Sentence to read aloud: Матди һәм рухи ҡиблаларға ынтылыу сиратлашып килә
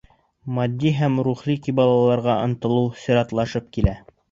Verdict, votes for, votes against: rejected, 2, 3